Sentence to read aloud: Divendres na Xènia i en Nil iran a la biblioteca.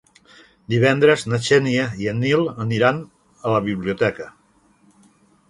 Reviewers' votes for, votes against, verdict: 1, 2, rejected